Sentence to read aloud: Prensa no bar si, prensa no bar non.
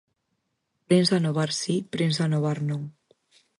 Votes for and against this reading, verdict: 0, 4, rejected